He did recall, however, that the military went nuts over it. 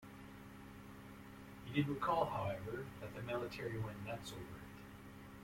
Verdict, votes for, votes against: accepted, 2, 0